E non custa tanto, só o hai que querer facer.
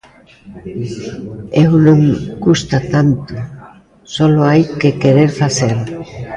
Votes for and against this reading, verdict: 0, 2, rejected